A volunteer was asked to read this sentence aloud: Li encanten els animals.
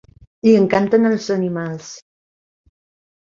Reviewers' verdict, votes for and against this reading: accepted, 3, 0